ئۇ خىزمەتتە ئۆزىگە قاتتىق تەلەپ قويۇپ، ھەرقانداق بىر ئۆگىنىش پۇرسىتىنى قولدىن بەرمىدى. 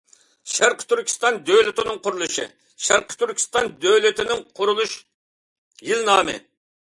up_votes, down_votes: 0, 2